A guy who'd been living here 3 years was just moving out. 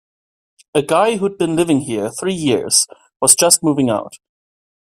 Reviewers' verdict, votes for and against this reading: rejected, 0, 2